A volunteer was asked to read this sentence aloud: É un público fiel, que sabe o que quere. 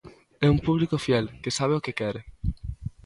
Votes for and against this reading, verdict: 2, 0, accepted